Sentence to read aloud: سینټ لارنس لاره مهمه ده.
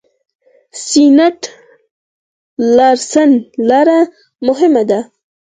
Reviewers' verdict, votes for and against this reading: rejected, 0, 4